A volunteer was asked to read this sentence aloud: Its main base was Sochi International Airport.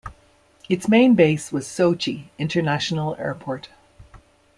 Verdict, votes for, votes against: accepted, 2, 0